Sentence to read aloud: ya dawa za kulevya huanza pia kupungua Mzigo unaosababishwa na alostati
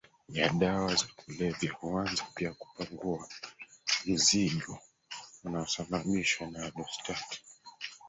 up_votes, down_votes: 0, 2